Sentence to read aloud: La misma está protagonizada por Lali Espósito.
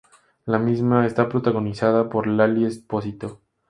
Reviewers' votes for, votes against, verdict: 0, 2, rejected